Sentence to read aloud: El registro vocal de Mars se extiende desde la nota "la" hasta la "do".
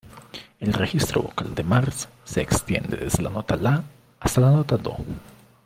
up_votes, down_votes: 0, 2